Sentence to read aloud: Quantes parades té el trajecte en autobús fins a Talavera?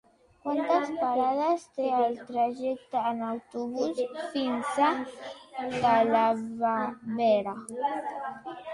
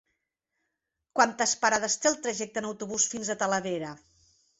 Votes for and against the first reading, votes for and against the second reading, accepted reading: 0, 2, 3, 0, second